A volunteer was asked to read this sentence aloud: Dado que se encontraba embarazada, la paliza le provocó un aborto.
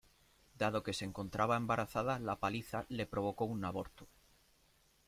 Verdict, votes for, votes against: accepted, 2, 0